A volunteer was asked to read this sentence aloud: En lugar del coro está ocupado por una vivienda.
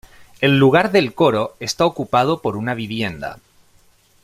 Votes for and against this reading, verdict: 2, 1, accepted